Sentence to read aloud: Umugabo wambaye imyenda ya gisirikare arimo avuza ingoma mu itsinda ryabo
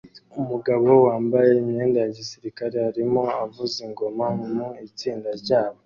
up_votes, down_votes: 2, 0